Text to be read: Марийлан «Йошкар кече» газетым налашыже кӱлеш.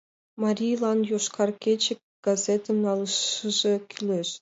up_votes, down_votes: 0, 3